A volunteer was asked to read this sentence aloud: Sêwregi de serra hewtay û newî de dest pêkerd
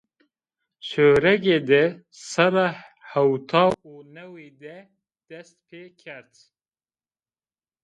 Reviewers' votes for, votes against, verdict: 2, 0, accepted